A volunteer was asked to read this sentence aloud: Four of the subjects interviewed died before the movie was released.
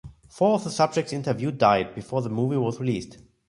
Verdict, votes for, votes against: accepted, 2, 0